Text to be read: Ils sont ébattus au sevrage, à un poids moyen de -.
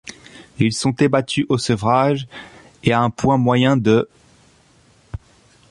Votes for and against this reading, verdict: 1, 2, rejected